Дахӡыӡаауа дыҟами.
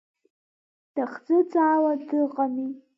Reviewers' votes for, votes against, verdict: 2, 0, accepted